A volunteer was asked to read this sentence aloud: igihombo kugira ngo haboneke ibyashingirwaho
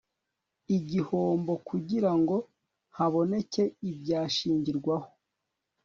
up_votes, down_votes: 2, 0